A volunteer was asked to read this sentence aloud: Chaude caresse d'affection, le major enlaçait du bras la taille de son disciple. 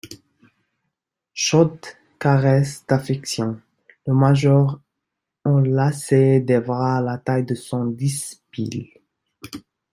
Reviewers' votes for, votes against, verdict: 0, 2, rejected